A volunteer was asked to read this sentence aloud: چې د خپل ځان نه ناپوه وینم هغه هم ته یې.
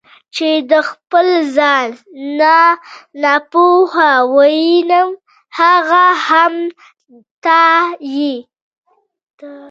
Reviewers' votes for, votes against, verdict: 1, 2, rejected